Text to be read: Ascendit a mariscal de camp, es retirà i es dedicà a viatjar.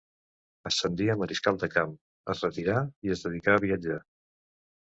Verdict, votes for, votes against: rejected, 0, 2